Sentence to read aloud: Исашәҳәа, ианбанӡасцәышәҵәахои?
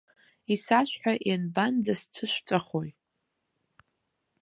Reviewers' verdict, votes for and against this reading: accepted, 2, 0